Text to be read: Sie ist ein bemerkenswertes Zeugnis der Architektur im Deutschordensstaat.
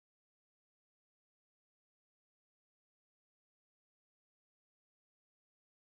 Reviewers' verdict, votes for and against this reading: rejected, 0, 2